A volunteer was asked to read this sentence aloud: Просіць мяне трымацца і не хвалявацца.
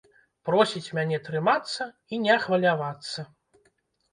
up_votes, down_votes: 1, 2